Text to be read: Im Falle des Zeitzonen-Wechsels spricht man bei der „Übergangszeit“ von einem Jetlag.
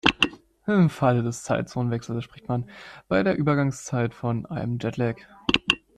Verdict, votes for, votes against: rejected, 1, 2